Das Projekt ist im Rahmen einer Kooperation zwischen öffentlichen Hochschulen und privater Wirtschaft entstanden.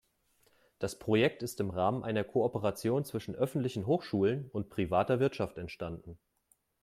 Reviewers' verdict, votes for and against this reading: accepted, 3, 0